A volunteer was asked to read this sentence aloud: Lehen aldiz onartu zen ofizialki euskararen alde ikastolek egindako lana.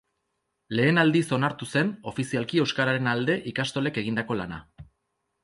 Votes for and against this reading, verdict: 4, 0, accepted